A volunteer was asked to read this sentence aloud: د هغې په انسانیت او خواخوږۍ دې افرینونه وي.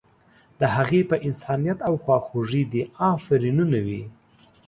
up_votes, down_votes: 3, 0